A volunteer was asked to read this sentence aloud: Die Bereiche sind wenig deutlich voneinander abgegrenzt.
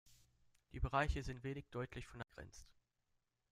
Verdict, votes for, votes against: rejected, 1, 2